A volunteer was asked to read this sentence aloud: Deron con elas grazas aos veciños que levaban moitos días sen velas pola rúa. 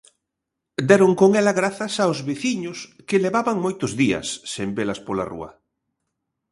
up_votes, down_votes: 0, 2